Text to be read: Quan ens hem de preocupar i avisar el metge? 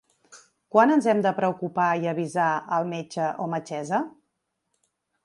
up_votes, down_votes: 0, 3